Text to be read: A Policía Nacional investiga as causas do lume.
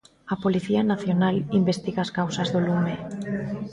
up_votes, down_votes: 2, 0